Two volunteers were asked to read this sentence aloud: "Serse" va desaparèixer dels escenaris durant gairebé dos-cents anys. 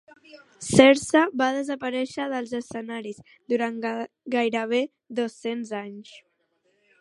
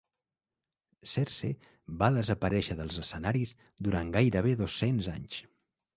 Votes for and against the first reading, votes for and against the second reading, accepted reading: 0, 2, 2, 0, second